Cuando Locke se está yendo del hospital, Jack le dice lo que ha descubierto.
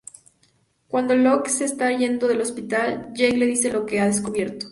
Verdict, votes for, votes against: accepted, 4, 0